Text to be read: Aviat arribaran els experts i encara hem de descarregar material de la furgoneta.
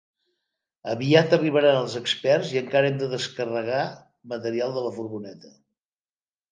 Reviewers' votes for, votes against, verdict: 2, 0, accepted